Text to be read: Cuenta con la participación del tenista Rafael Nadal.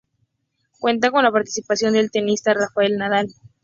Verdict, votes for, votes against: accepted, 2, 0